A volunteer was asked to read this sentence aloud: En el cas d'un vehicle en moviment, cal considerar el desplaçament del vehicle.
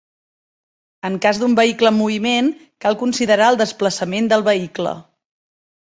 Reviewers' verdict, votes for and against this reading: rejected, 0, 2